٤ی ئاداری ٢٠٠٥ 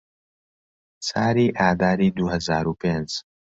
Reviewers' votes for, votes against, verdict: 0, 2, rejected